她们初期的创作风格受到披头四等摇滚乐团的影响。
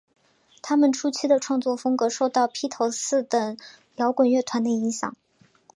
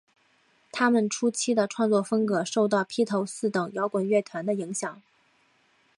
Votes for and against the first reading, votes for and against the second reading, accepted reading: 5, 0, 1, 2, first